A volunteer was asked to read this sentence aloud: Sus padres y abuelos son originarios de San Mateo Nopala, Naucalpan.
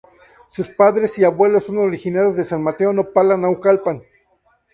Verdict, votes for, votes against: accepted, 2, 0